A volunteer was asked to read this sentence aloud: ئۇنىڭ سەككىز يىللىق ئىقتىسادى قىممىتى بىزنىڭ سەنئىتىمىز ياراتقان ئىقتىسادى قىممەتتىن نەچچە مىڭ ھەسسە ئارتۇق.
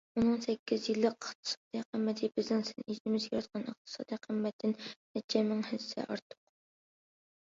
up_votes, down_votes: 0, 2